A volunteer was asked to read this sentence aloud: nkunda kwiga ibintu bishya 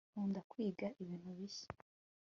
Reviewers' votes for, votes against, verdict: 2, 0, accepted